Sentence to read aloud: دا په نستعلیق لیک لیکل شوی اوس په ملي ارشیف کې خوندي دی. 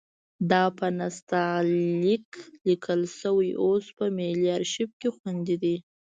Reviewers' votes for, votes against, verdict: 2, 0, accepted